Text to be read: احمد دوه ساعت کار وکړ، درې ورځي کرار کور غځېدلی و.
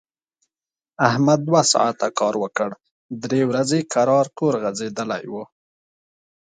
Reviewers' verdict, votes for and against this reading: accepted, 2, 0